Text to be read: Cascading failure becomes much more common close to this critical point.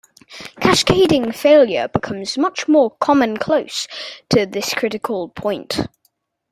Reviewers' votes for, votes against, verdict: 2, 0, accepted